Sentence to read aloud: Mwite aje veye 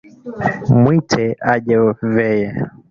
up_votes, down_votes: 3, 2